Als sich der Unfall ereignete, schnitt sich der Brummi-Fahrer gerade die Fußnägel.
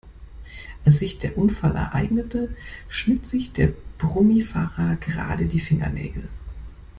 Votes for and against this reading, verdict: 0, 2, rejected